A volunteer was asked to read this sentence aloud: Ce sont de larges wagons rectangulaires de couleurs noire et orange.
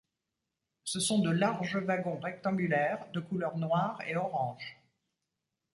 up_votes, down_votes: 2, 0